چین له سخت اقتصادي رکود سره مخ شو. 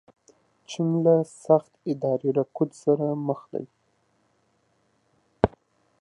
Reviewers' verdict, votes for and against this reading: rejected, 0, 2